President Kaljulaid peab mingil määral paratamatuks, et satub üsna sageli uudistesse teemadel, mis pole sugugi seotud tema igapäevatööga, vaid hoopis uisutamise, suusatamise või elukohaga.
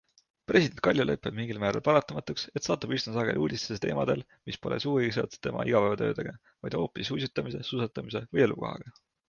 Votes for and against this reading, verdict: 2, 0, accepted